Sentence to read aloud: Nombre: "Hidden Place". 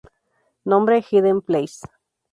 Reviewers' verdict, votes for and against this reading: accepted, 2, 0